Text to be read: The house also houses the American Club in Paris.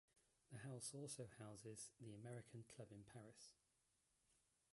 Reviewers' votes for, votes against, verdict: 0, 2, rejected